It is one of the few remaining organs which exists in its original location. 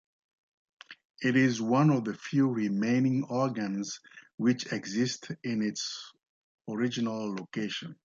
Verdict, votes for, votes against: accepted, 2, 0